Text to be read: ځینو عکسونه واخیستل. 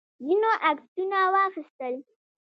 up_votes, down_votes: 1, 2